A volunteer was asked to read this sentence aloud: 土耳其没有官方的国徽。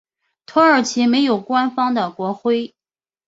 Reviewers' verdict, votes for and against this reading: accepted, 3, 0